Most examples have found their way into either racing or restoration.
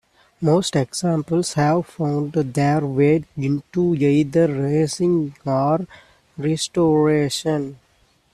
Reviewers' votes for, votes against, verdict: 2, 1, accepted